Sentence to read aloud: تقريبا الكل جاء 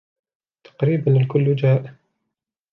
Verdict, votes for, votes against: accepted, 3, 0